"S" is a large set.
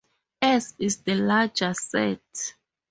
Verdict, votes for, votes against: rejected, 2, 2